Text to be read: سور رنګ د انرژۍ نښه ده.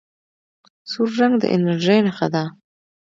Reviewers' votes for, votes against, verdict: 2, 0, accepted